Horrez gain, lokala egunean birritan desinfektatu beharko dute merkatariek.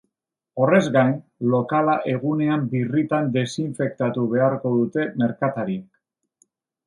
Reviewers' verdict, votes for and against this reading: rejected, 0, 2